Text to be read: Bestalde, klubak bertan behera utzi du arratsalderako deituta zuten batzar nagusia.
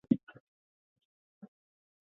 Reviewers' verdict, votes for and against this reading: rejected, 0, 4